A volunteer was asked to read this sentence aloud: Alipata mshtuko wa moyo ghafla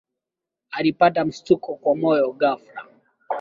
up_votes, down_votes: 1, 2